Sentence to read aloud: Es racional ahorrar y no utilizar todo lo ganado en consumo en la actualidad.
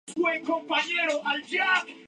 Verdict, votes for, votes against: rejected, 0, 4